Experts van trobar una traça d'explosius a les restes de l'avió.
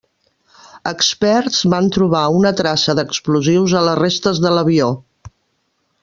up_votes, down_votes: 2, 0